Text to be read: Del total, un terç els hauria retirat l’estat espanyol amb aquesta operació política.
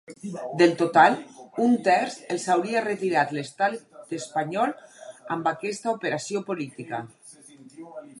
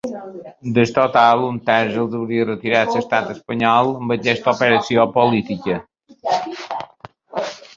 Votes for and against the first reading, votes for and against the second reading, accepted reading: 2, 2, 3, 1, second